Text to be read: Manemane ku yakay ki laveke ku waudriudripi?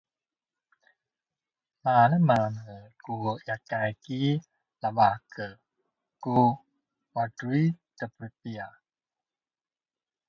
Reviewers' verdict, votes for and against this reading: rejected, 1, 2